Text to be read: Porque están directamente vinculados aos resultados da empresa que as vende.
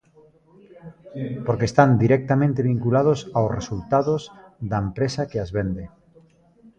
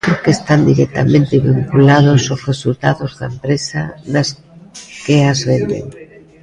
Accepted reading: first